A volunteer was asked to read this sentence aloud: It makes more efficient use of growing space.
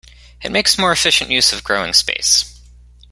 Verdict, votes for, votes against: accepted, 2, 0